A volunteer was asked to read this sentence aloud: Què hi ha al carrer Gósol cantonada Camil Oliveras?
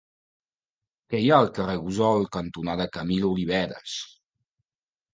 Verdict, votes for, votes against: rejected, 0, 2